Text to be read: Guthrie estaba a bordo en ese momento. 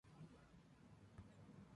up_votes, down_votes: 0, 2